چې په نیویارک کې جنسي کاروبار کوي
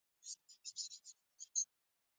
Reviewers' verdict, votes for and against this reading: rejected, 1, 2